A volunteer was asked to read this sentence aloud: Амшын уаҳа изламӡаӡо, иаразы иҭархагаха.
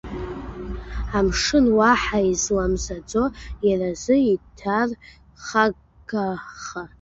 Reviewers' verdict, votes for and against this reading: rejected, 0, 2